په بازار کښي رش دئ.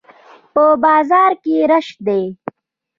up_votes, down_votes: 0, 2